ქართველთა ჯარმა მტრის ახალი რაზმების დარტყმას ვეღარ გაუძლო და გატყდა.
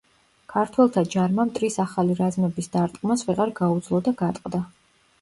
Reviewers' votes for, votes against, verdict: 2, 0, accepted